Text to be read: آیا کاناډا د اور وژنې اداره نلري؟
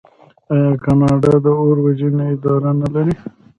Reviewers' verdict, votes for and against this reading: accepted, 2, 1